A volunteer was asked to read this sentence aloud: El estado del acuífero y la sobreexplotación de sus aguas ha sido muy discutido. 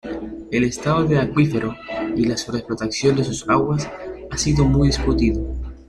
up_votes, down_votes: 0, 2